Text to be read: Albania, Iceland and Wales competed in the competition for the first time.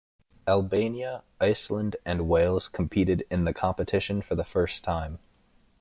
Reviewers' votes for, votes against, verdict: 2, 0, accepted